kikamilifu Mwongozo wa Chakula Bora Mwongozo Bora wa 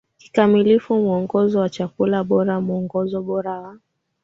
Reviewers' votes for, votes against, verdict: 2, 1, accepted